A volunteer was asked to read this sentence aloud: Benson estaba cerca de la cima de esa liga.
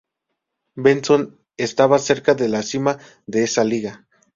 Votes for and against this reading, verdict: 4, 0, accepted